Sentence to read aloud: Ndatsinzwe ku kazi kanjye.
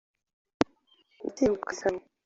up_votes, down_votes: 1, 2